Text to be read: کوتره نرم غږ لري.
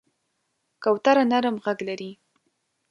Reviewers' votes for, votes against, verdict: 4, 0, accepted